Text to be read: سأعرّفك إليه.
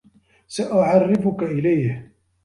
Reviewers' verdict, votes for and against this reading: accepted, 2, 0